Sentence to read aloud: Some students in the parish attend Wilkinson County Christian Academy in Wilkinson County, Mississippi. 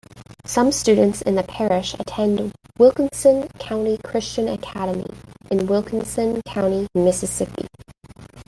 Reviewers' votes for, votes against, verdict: 1, 2, rejected